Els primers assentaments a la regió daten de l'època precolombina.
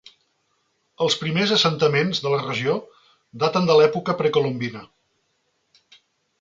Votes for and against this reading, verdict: 1, 2, rejected